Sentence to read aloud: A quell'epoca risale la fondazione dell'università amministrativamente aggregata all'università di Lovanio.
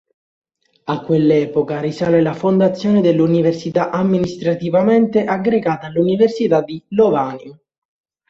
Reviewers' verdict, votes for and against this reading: accepted, 2, 1